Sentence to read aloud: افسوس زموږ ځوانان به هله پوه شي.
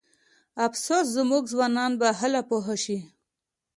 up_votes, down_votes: 2, 0